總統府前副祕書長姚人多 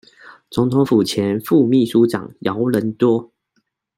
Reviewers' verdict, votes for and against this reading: accepted, 2, 0